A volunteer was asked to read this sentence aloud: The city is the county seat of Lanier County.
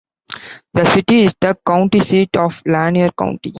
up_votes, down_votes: 2, 0